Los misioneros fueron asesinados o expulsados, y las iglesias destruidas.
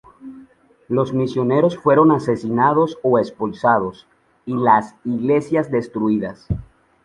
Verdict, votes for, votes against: accepted, 2, 0